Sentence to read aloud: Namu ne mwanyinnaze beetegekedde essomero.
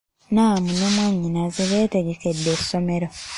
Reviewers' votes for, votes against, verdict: 0, 2, rejected